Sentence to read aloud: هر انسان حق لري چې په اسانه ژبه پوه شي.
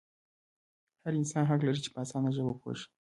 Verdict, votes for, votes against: accepted, 2, 0